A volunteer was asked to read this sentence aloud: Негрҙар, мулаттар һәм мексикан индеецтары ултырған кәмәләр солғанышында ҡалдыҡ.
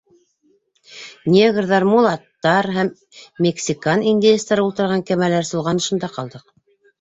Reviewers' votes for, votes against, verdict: 2, 0, accepted